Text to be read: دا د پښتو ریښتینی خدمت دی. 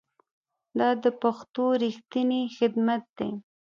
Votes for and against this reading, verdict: 2, 0, accepted